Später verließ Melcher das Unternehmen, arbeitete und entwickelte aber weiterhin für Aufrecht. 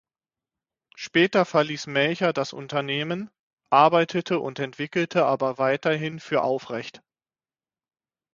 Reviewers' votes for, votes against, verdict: 6, 0, accepted